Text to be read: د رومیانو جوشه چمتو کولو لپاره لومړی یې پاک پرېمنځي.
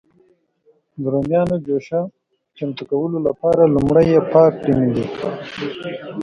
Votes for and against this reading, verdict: 0, 2, rejected